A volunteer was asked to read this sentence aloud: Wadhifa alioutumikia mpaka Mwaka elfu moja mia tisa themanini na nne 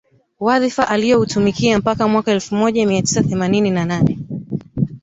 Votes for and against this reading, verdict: 0, 2, rejected